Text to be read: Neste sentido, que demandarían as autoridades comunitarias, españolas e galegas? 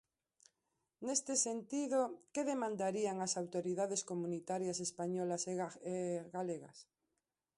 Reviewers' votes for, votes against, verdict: 0, 2, rejected